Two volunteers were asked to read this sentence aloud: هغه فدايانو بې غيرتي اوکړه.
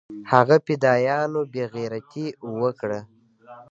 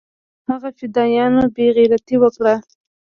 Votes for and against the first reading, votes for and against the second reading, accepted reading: 1, 2, 2, 0, second